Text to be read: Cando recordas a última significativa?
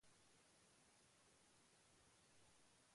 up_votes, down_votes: 0, 2